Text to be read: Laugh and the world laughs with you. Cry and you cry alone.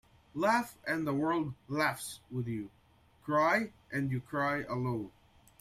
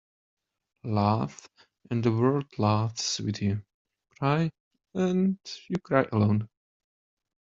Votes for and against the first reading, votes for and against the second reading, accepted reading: 3, 0, 1, 2, first